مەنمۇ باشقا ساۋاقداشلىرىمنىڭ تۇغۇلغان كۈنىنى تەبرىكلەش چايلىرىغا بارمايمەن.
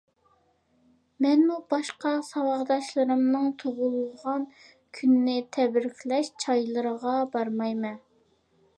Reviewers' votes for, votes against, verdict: 2, 0, accepted